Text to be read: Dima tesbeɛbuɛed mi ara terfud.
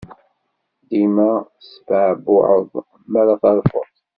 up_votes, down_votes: 1, 2